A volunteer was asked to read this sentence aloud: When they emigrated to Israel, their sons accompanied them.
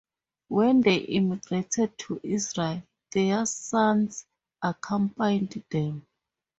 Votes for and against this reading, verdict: 0, 2, rejected